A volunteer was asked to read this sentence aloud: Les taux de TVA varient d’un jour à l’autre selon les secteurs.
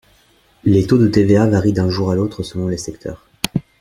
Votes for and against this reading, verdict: 2, 0, accepted